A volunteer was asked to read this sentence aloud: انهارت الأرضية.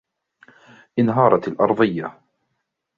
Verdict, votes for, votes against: accepted, 2, 0